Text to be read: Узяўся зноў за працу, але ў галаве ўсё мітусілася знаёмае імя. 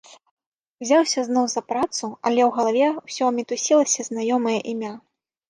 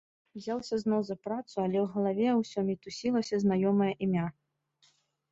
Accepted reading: second